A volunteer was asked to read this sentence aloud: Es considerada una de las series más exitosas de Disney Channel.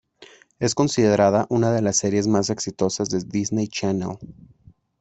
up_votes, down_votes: 1, 2